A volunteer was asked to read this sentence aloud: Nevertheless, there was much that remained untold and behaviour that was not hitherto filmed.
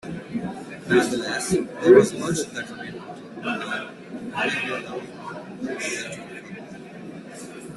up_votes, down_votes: 0, 2